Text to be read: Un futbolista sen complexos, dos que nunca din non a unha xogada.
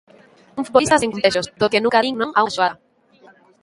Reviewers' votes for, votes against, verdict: 0, 2, rejected